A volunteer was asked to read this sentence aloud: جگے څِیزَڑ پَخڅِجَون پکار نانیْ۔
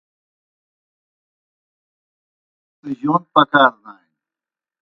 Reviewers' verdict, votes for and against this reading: rejected, 0, 2